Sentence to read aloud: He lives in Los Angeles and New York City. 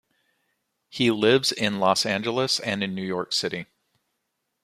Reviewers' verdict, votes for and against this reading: rejected, 1, 2